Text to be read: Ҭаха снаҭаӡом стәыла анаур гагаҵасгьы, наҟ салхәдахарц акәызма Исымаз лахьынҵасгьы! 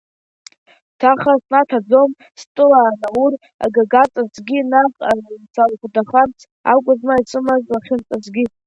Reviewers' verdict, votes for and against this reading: rejected, 1, 2